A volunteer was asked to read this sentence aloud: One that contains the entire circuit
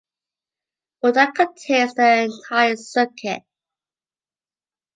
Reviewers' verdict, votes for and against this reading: rejected, 1, 2